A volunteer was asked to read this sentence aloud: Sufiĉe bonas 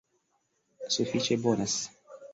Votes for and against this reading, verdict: 2, 0, accepted